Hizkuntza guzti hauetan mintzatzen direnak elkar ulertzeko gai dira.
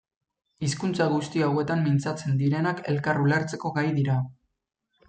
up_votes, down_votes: 2, 0